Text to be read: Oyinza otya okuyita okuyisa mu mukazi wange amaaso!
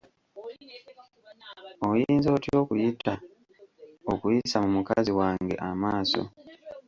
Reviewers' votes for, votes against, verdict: 1, 2, rejected